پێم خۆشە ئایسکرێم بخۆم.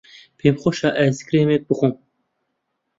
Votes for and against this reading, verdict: 1, 2, rejected